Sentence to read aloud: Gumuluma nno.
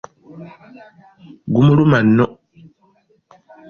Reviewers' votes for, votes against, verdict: 2, 0, accepted